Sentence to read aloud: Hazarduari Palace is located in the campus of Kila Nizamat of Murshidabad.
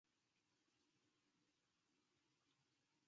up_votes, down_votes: 1, 2